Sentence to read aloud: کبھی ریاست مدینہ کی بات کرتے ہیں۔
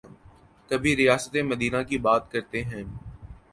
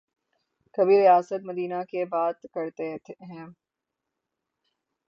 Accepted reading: first